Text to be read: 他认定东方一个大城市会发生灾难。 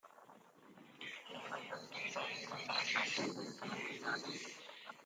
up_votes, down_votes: 0, 2